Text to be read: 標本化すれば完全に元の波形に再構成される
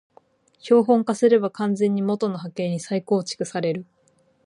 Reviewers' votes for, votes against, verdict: 0, 4, rejected